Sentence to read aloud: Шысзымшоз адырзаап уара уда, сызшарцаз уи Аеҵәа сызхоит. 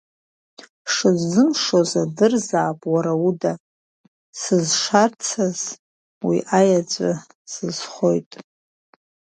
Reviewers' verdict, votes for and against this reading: rejected, 1, 2